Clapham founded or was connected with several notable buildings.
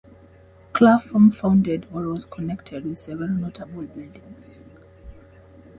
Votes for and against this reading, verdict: 0, 2, rejected